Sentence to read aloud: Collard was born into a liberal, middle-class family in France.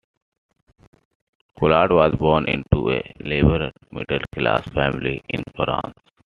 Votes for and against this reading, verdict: 1, 2, rejected